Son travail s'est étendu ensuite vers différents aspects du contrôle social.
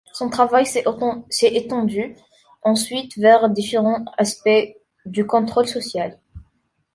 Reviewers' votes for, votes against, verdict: 0, 2, rejected